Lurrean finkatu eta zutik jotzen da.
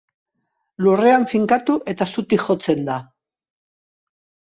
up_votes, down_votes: 2, 0